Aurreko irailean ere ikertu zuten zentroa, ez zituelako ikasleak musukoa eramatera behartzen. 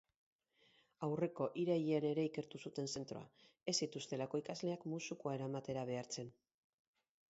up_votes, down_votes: 4, 0